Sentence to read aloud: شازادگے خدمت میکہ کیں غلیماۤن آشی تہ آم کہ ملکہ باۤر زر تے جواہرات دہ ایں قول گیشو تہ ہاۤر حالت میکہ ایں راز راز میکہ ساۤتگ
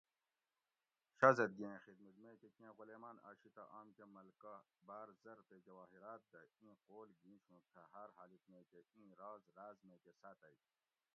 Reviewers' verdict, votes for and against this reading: rejected, 0, 2